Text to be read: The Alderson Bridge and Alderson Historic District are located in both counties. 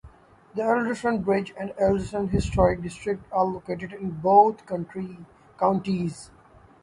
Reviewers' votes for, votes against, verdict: 0, 3, rejected